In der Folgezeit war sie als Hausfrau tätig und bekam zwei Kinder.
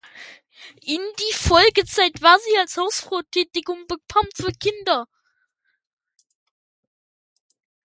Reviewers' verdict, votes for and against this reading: rejected, 0, 2